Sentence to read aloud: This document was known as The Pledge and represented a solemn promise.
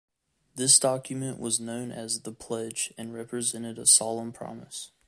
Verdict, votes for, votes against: accepted, 2, 0